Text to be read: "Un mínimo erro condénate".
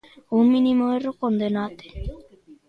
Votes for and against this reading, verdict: 0, 2, rejected